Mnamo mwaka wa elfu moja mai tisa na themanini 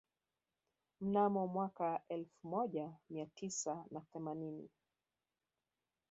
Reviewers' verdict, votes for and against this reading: rejected, 2, 3